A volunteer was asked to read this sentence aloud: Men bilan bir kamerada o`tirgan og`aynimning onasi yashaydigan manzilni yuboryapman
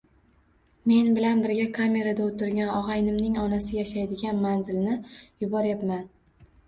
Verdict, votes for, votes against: accepted, 2, 0